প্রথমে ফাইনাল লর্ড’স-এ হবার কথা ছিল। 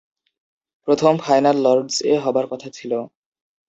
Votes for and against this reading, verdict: 2, 3, rejected